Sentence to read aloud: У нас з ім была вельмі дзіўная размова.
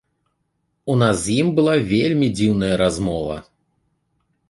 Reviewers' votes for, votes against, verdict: 2, 0, accepted